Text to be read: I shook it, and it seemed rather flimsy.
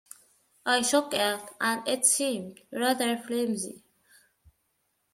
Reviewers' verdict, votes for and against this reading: rejected, 0, 2